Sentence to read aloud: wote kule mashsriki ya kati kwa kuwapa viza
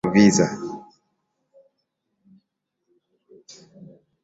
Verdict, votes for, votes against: rejected, 2, 9